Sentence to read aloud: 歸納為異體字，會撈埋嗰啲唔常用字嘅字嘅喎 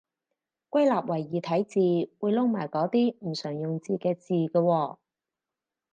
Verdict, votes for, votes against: rejected, 2, 2